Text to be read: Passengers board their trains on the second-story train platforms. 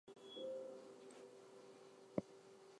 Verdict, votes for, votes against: rejected, 0, 4